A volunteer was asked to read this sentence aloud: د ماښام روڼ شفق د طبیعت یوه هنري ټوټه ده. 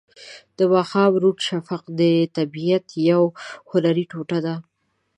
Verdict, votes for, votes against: accepted, 2, 1